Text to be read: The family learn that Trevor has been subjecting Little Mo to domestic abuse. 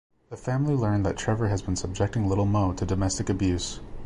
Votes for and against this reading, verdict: 2, 0, accepted